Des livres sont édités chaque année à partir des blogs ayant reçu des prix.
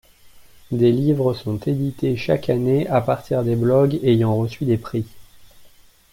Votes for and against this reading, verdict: 2, 0, accepted